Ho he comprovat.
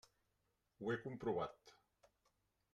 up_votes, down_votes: 1, 2